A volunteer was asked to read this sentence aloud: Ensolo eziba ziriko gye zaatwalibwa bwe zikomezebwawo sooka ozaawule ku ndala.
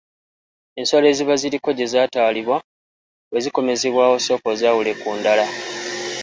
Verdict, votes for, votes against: accepted, 2, 1